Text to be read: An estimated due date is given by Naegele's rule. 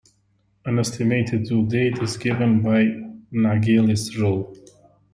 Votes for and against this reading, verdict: 2, 0, accepted